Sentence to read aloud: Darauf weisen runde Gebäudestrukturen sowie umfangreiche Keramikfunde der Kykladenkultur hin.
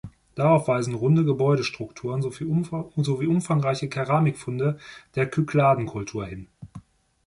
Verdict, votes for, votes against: rejected, 0, 2